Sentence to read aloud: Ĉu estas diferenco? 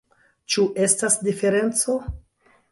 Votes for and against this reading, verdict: 1, 2, rejected